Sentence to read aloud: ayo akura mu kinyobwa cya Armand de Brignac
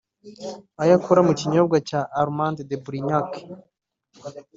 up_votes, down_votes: 0, 2